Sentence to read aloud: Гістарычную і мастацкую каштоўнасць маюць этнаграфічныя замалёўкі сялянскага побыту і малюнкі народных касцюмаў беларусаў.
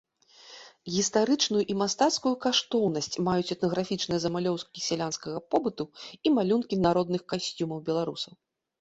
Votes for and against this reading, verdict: 1, 2, rejected